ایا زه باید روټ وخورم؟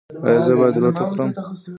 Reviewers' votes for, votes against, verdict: 0, 2, rejected